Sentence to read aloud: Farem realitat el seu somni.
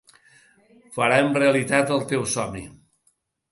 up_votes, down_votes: 0, 2